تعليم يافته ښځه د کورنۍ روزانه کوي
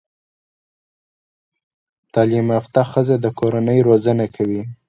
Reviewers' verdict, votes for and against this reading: accepted, 2, 0